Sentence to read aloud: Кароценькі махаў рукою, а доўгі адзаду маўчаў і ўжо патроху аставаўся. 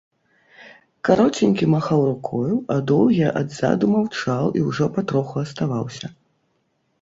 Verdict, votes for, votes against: accepted, 2, 0